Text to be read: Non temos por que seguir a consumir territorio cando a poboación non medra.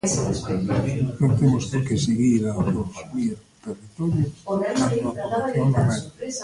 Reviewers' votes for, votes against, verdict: 0, 2, rejected